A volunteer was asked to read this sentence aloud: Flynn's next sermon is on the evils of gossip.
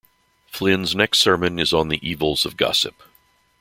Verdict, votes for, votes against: accepted, 2, 0